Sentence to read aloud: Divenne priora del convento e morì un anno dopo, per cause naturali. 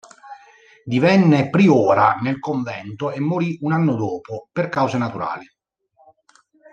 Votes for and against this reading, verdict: 1, 2, rejected